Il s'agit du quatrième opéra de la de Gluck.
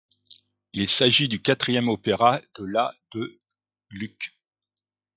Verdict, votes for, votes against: accepted, 2, 0